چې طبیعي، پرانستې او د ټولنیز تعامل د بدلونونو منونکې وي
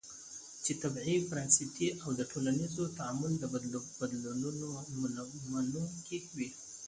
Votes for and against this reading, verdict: 1, 2, rejected